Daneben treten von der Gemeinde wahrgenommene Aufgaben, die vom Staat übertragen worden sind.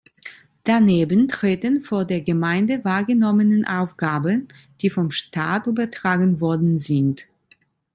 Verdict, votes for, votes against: rejected, 0, 2